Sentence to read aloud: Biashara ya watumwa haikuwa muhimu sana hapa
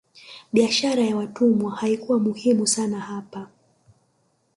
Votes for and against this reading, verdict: 1, 2, rejected